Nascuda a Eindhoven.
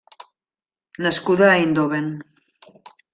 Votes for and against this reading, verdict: 2, 0, accepted